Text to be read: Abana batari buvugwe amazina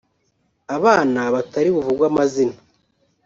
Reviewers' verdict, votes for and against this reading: rejected, 1, 2